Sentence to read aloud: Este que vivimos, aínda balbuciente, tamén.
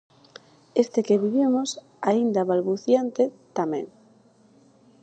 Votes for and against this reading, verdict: 4, 0, accepted